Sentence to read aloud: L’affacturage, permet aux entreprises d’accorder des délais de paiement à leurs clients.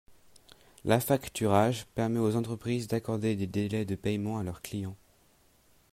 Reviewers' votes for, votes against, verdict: 2, 0, accepted